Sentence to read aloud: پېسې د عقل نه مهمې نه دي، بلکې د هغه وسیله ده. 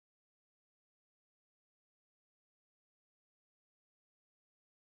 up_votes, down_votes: 1, 2